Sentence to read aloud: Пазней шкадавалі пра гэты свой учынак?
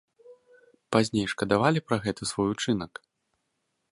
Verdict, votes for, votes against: accepted, 2, 0